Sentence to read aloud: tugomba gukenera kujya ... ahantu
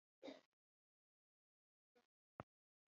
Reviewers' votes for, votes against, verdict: 1, 2, rejected